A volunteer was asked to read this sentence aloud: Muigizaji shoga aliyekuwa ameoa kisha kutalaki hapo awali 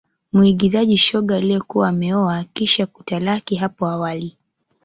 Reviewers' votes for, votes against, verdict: 2, 0, accepted